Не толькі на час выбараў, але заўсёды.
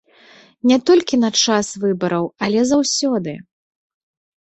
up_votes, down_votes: 2, 0